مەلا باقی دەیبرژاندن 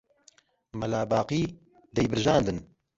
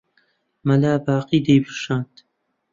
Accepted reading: first